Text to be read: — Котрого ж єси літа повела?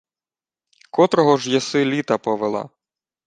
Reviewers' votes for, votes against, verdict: 2, 1, accepted